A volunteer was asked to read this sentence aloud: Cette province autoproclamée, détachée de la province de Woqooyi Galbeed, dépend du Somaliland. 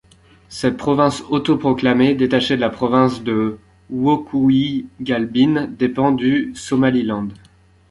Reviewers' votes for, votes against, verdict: 1, 2, rejected